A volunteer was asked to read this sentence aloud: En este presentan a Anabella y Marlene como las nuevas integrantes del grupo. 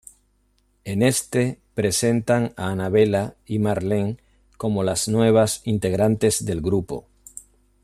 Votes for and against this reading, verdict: 2, 0, accepted